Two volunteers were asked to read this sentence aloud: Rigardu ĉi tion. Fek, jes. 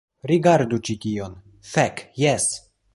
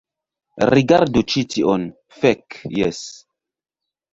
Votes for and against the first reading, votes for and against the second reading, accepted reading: 2, 0, 1, 2, first